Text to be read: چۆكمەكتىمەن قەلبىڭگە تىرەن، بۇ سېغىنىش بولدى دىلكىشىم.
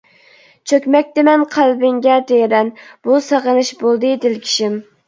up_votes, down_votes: 2, 1